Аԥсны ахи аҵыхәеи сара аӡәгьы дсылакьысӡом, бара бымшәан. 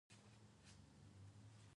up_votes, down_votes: 0, 2